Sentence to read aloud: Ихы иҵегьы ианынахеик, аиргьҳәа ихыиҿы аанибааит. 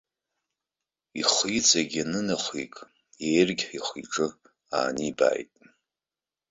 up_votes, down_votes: 1, 2